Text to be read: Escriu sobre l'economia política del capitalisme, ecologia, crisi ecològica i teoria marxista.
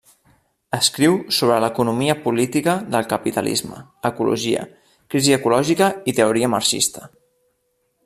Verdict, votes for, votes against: accepted, 3, 0